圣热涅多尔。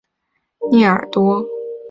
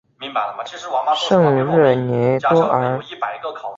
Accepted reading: first